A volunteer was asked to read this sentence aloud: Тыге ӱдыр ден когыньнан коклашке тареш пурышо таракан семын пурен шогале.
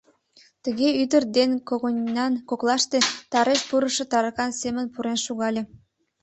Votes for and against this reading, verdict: 1, 2, rejected